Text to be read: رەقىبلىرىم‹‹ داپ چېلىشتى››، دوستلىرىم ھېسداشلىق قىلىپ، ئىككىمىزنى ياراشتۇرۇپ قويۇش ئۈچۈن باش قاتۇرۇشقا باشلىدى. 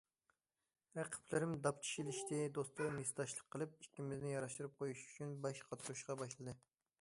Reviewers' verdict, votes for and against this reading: rejected, 0, 2